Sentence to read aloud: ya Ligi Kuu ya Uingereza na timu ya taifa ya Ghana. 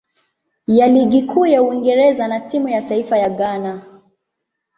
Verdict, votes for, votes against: accepted, 2, 0